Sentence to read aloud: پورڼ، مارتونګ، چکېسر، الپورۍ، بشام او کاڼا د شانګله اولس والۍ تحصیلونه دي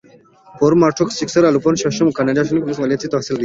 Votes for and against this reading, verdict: 1, 2, rejected